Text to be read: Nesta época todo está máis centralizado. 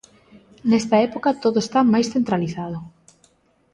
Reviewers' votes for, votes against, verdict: 2, 0, accepted